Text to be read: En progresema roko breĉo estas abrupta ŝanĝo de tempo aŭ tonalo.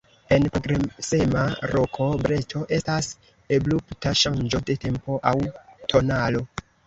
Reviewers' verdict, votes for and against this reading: rejected, 0, 2